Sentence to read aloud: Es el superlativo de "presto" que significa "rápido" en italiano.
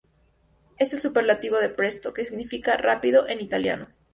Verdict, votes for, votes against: accepted, 2, 0